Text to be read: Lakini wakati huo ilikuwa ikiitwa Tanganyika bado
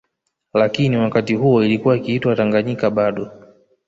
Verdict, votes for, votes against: accepted, 4, 0